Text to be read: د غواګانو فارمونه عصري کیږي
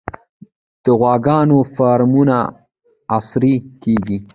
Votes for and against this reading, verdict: 0, 2, rejected